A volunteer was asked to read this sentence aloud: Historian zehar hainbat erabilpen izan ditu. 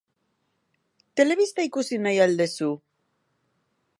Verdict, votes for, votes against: rejected, 0, 2